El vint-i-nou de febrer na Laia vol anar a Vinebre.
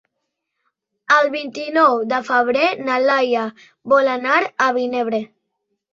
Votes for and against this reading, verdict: 2, 0, accepted